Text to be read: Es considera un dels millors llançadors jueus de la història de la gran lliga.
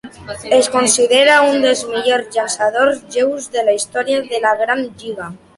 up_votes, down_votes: 1, 2